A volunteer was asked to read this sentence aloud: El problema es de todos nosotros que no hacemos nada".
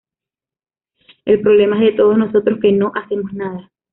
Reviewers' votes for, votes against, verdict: 2, 1, accepted